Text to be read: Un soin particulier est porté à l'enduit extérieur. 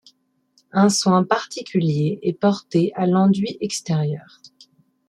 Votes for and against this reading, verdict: 2, 0, accepted